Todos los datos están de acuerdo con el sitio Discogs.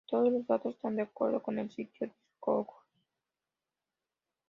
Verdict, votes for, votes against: accepted, 2, 0